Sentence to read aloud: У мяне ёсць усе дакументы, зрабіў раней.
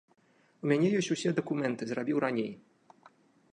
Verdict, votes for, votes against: accepted, 2, 0